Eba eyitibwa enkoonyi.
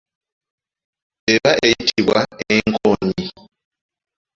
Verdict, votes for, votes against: accepted, 2, 0